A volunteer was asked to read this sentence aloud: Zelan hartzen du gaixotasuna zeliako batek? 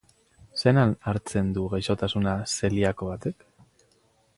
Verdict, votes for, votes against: rejected, 2, 4